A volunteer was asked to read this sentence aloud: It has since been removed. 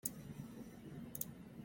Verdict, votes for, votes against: rejected, 1, 2